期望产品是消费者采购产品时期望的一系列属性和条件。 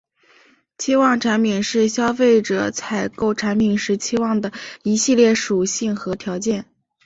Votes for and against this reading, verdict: 6, 0, accepted